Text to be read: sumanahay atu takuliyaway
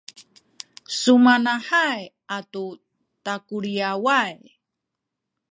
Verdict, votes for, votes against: accepted, 2, 1